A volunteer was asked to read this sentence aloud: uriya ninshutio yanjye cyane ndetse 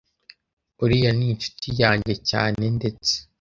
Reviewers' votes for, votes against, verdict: 1, 2, rejected